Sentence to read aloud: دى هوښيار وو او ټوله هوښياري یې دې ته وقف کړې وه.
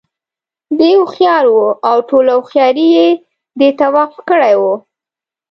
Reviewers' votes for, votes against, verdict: 0, 2, rejected